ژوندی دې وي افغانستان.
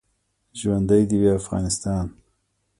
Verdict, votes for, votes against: rejected, 0, 2